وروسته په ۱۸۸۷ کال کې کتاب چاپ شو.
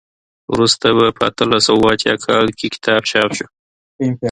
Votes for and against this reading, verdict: 0, 2, rejected